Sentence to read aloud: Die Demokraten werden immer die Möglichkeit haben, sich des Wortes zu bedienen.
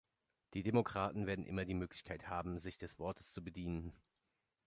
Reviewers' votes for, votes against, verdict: 2, 0, accepted